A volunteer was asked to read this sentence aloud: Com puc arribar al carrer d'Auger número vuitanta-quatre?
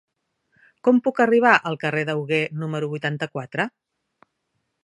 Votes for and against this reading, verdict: 0, 2, rejected